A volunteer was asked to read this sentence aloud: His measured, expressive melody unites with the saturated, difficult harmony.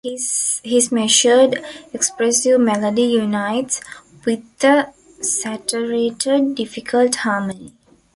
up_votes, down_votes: 1, 2